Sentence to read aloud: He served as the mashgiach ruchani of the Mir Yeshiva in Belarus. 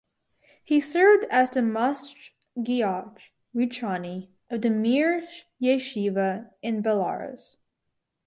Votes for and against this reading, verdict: 2, 4, rejected